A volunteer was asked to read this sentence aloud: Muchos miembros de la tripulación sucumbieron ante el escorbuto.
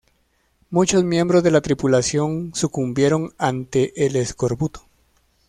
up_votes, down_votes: 2, 0